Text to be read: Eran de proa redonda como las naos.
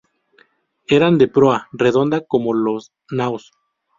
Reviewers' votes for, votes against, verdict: 0, 2, rejected